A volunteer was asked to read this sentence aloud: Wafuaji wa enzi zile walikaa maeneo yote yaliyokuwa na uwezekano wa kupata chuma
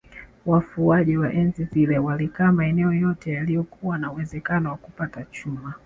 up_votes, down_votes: 2, 1